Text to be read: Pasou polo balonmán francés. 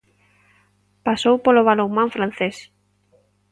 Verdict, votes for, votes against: accepted, 2, 0